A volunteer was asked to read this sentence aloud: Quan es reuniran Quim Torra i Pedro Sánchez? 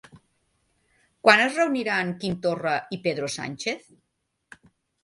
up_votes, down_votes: 3, 0